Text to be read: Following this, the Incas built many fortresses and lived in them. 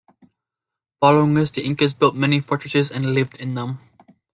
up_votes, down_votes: 2, 0